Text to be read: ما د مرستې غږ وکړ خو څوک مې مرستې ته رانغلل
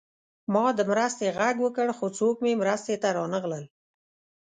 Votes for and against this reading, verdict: 2, 0, accepted